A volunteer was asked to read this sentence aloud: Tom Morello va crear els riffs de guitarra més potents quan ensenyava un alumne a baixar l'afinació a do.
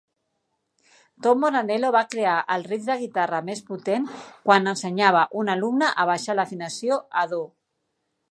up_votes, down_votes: 0, 2